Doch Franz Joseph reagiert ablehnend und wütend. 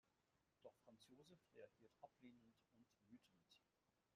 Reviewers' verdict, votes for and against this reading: rejected, 0, 2